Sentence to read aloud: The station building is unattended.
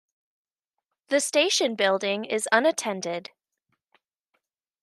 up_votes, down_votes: 2, 0